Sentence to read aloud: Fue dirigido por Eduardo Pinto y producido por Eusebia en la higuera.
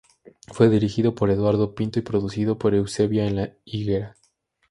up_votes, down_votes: 2, 0